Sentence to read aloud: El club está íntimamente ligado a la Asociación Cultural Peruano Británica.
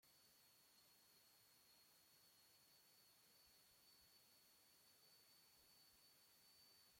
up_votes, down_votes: 0, 2